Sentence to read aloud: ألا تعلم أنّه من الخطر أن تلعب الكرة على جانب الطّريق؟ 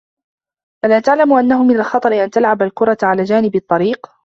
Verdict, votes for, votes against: rejected, 1, 2